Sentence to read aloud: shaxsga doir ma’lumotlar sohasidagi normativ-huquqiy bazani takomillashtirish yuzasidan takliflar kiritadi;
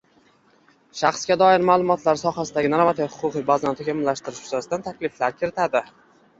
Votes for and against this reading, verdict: 0, 2, rejected